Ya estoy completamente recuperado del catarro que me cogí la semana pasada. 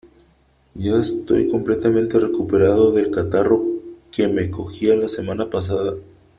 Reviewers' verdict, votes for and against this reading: accepted, 2, 0